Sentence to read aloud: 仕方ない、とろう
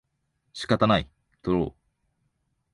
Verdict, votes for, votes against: accepted, 2, 0